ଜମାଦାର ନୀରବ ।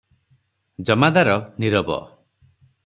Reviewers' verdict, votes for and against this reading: accepted, 6, 0